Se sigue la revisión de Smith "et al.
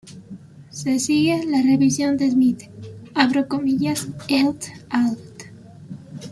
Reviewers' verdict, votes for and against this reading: rejected, 1, 2